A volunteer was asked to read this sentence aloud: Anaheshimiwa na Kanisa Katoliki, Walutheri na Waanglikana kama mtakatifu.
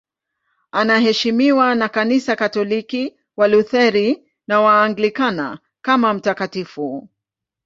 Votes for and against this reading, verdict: 2, 0, accepted